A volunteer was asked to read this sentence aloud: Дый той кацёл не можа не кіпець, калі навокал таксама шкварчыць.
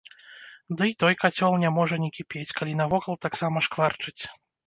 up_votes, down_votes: 1, 2